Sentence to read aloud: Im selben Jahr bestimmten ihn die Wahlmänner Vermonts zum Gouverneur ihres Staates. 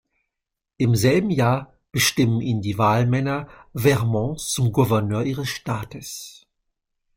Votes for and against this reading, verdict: 0, 2, rejected